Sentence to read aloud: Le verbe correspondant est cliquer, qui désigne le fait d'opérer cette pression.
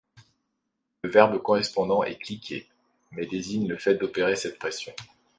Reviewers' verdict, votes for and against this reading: rejected, 1, 2